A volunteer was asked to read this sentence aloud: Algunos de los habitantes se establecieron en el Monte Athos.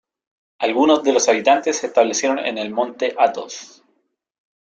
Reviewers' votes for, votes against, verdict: 2, 0, accepted